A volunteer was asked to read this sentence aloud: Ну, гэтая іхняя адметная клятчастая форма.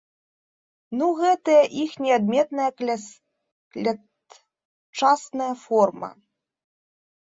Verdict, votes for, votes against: rejected, 0, 2